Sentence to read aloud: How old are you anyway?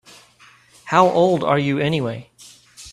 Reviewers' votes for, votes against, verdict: 3, 0, accepted